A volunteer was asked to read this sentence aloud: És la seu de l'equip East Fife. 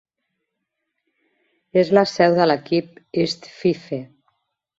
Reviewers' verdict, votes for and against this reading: rejected, 1, 2